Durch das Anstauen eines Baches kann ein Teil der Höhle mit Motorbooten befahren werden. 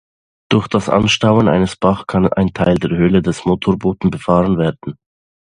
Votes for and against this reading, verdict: 1, 2, rejected